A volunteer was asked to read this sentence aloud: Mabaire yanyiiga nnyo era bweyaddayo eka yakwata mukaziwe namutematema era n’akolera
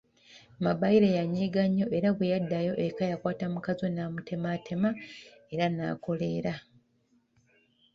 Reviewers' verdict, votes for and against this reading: rejected, 1, 3